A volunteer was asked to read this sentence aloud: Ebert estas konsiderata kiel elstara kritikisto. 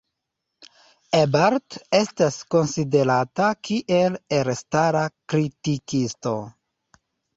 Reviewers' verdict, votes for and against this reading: rejected, 0, 2